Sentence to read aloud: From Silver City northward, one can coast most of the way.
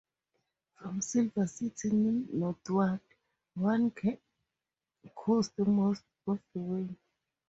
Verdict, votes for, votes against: rejected, 0, 2